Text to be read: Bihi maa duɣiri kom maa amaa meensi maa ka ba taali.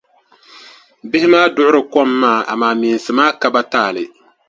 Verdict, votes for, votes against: accepted, 2, 0